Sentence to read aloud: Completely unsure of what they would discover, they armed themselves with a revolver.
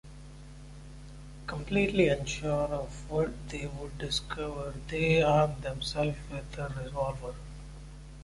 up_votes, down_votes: 2, 0